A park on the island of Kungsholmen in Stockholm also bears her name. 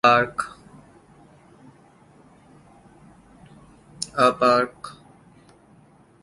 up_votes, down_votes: 0, 2